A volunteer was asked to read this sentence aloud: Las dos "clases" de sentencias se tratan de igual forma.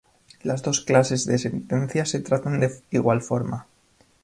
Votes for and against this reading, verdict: 0, 2, rejected